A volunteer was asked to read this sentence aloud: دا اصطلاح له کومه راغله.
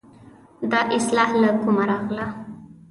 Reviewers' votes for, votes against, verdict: 0, 2, rejected